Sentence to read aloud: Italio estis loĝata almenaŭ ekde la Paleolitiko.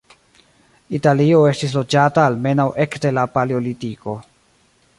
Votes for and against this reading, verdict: 2, 0, accepted